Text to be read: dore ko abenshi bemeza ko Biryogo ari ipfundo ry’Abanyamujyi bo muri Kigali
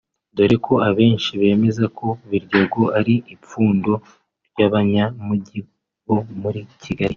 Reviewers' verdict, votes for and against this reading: accepted, 2, 1